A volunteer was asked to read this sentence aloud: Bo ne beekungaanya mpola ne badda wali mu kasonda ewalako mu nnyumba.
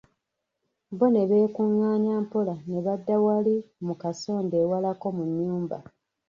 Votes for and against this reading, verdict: 1, 2, rejected